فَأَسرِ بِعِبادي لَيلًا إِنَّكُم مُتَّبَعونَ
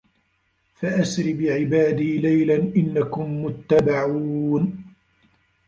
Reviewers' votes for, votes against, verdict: 0, 2, rejected